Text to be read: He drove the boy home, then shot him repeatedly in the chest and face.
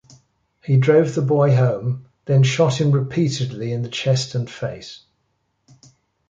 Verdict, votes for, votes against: accepted, 2, 0